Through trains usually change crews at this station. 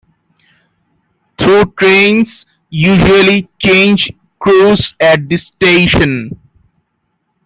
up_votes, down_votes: 1, 2